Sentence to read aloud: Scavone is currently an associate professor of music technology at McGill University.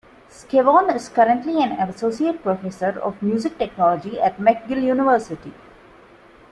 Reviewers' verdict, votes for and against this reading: accepted, 2, 1